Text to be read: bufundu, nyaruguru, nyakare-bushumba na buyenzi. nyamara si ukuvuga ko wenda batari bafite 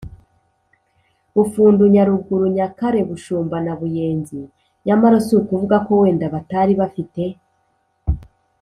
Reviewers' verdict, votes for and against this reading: accepted, 3, 0